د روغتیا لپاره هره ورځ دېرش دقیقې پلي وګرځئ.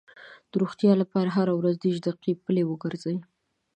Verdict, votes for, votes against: accepted, 2, 1